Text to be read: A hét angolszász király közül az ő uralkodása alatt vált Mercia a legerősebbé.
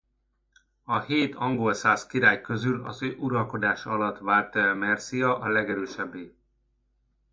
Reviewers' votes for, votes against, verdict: 0, 2, rejected